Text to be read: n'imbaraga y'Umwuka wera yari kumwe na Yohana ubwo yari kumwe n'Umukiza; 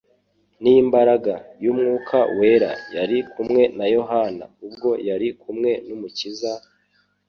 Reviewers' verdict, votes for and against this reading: accepted, 2, 0